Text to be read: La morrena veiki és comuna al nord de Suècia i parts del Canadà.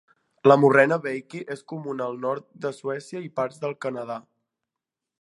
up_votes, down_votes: 2, 0